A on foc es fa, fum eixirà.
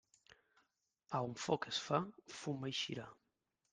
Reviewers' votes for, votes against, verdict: 2, 0, accepted